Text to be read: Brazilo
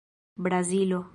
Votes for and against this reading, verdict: 2, 0, accepted